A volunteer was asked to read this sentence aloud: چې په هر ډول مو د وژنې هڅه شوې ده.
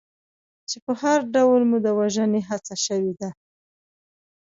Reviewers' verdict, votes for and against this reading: accepted, 2, 0